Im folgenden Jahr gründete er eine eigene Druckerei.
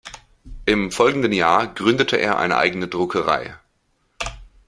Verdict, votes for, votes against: accepted, 2, 0